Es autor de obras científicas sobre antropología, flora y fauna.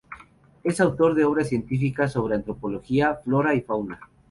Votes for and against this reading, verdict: 4, 0, accepted